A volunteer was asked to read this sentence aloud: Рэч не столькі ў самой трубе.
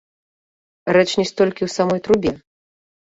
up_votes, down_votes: 0, 2